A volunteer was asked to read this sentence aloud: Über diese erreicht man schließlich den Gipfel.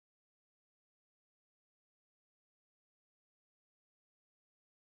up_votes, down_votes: 0, 2